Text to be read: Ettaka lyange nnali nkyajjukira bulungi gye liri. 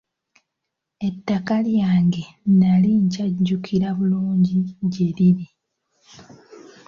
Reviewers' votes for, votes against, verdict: 2, 0, accepted